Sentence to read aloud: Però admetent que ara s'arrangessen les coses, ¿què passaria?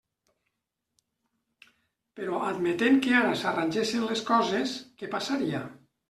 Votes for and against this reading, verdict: 2, 0, accepted